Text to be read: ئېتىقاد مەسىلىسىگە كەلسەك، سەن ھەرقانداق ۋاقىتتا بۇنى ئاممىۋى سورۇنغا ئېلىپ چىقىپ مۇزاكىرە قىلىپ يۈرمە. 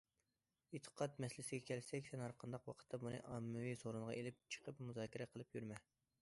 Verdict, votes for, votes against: accepted, 2, 0